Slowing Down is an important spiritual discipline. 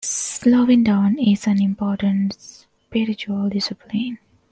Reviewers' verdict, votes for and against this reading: accepted, 2, 0